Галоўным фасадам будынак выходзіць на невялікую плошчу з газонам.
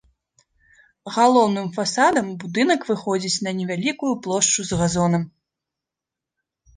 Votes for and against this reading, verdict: 2, 0, accepted